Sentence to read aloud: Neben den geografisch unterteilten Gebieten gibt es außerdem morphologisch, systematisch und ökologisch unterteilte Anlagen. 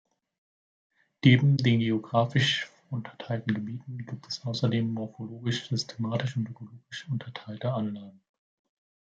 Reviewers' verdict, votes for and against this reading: rejected, 1, 2